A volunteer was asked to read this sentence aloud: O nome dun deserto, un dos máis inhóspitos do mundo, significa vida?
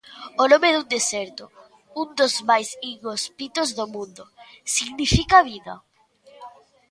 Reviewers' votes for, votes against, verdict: 0, 2, rejected